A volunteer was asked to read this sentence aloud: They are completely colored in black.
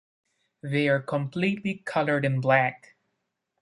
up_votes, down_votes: 2, 0